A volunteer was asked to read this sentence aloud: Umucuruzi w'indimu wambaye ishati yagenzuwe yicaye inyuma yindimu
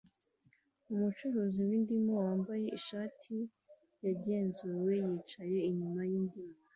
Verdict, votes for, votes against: accepted, 2, 0